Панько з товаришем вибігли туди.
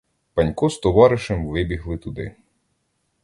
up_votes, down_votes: 2, 0